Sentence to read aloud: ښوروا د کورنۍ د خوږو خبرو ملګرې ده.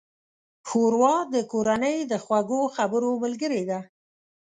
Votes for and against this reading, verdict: 4, 0, accepted